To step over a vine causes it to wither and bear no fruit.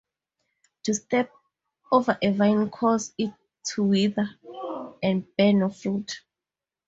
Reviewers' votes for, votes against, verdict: 4, 0, accepted